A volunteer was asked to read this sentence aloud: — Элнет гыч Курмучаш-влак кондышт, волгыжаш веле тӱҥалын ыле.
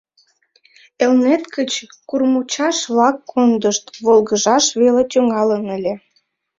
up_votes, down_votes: 2, 0